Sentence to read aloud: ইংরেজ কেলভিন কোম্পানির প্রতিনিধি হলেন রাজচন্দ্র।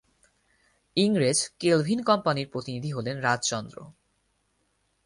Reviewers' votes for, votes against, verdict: 4, 0, accepted